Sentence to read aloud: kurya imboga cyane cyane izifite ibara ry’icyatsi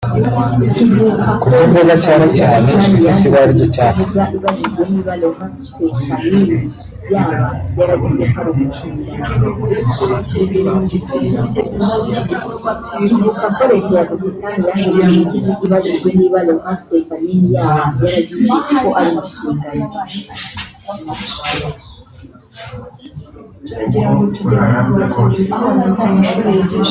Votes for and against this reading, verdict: 1, 4, rejected